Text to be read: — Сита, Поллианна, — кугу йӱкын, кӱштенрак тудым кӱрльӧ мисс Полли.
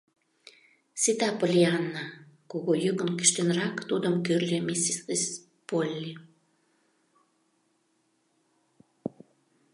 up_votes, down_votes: 0, 2